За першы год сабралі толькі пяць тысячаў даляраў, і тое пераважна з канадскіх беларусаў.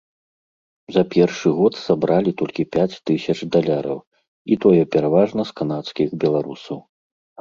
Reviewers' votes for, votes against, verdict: 0, 2, rejected